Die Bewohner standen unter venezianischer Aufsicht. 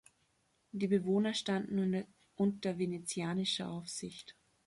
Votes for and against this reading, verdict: 0, 2, rejected